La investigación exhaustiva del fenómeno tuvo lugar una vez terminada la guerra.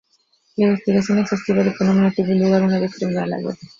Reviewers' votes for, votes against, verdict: 2, 0, accepted